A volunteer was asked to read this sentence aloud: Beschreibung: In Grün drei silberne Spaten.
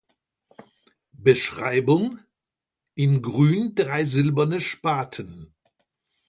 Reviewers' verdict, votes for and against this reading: accepted, 2, 0